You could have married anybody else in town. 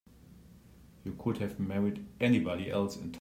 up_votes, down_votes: 0, 3